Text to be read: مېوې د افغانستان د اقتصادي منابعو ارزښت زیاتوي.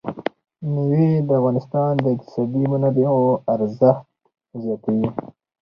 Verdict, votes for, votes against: rejected, 0, 2